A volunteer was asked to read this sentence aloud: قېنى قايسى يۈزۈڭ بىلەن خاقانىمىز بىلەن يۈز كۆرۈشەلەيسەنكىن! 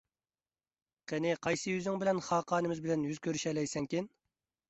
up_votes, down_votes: 2, 0